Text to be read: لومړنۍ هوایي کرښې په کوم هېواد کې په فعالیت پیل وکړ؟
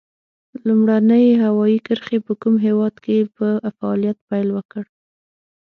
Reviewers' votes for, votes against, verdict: 6, 0, accepted